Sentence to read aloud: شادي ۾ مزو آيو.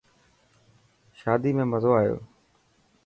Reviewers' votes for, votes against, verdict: 3, 0, accepted